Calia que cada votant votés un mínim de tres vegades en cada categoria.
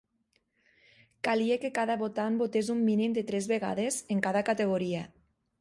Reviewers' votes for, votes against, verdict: 2, 0, accepted